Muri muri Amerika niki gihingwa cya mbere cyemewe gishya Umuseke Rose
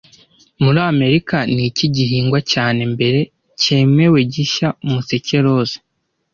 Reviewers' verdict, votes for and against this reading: rejected, 1, 2